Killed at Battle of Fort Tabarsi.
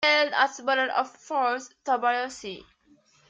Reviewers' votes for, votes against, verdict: 0, 2, rejected